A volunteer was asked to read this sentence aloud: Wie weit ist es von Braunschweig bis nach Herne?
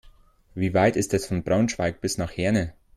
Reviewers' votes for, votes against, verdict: 2, 0, accepted